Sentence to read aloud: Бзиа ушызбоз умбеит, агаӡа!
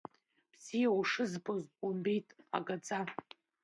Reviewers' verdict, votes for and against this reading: rejected, 1, 2